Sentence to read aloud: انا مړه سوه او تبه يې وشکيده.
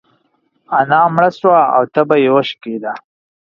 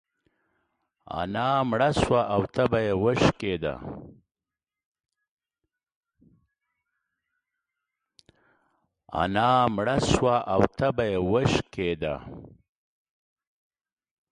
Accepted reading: first